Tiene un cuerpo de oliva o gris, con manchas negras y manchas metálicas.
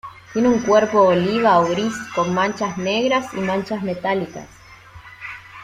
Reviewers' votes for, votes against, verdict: 1, 2, rejected